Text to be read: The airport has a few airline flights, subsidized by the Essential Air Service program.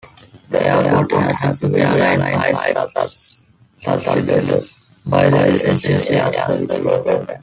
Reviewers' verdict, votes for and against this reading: rejected, 0, 2